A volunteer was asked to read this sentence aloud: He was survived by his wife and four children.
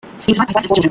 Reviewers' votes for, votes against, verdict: 0, 2, rejected